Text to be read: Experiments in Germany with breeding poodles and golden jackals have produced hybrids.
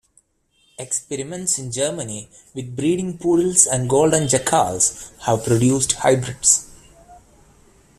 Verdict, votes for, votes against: rejected, 0, 2